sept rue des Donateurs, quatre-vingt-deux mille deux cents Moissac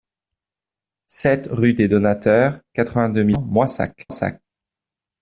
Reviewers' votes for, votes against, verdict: 0, 2, rejected